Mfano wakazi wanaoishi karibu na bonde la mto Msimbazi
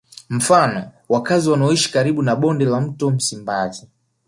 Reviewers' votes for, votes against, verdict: 4, 0, accepted